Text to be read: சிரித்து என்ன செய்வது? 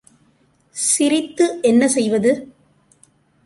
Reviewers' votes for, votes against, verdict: 2, 0, accepted